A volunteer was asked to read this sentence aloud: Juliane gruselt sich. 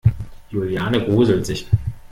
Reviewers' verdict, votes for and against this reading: rejected, 1, 2